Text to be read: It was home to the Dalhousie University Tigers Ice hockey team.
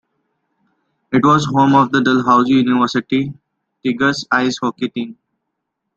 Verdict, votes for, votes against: rejected, 0, 2